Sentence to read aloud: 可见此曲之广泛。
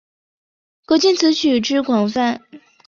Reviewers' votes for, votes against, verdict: 5, 0, accepted